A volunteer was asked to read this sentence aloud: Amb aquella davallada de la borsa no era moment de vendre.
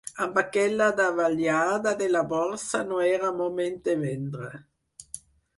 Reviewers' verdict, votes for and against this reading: rejected, 0, 4